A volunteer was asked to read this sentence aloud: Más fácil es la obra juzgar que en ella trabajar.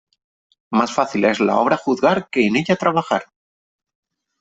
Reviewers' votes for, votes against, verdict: 3, 0, accepted